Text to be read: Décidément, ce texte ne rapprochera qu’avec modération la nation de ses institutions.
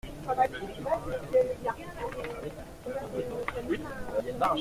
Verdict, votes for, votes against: rejected, 0, 2